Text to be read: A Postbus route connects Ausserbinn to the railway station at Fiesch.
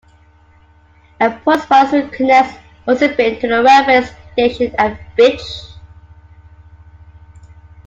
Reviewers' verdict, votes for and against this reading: rejected, 0, 2